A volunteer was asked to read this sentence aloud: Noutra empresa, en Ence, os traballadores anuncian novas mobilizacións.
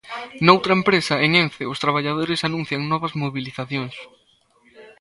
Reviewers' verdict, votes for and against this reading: rejected, 1, 2